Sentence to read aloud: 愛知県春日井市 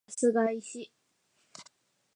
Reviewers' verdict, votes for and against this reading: rejected, 0, 4